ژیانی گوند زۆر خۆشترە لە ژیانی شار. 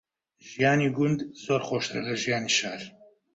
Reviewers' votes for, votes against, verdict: 2, 0, accepted